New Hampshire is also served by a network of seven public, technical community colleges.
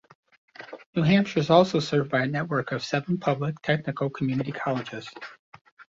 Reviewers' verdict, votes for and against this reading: accepted, 2, 1